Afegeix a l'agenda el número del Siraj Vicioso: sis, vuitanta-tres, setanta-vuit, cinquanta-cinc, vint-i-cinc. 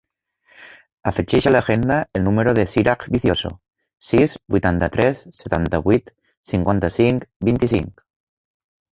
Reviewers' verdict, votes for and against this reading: accepted, 2, 1